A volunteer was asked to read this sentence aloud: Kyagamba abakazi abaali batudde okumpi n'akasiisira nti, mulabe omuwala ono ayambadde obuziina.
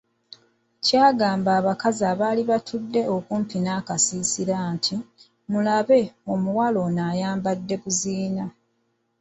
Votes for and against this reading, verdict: 0, 2, rejected